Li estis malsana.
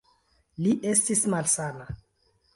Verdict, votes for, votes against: rejected, 1, 2